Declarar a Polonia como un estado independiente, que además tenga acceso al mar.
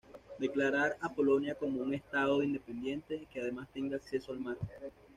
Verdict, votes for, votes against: accepted, 2, 0